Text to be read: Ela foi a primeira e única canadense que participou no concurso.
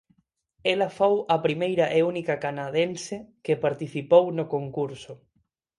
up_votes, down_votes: 0, 4